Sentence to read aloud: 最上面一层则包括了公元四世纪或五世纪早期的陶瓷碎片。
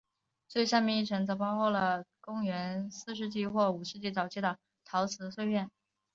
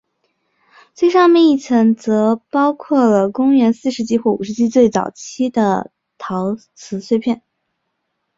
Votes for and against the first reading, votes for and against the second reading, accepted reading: 2, 0, 1, 2, first